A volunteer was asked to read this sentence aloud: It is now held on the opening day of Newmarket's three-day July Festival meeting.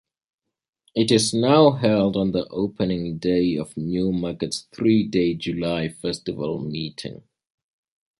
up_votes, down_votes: 2, 0